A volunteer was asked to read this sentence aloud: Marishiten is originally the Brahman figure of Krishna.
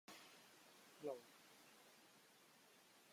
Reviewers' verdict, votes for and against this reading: rejected, 0, 2